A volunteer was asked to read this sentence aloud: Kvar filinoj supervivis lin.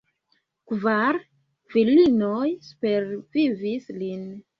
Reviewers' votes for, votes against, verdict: 0, 2, rejected